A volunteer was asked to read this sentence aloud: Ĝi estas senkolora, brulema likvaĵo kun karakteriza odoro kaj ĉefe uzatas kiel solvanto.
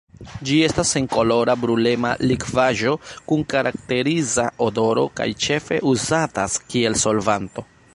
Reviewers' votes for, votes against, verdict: 1, 2, rejected